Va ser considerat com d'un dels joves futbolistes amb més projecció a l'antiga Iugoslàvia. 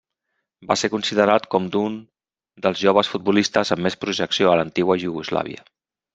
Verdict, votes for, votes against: rejected, 1, 2